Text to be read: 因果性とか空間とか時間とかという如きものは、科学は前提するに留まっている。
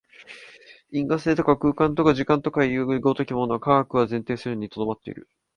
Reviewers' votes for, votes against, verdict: 2, 0, accepted